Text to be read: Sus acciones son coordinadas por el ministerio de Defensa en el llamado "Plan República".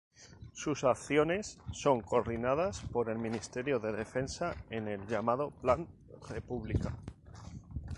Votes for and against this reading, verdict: 2, 2, rejected